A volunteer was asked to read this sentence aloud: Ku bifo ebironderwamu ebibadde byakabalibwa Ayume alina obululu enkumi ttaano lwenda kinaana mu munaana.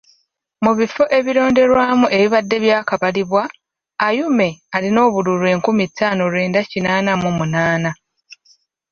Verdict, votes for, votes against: rejected, 1, 2